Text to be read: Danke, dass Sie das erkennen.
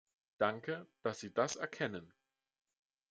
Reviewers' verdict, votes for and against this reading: accepted, 2, 0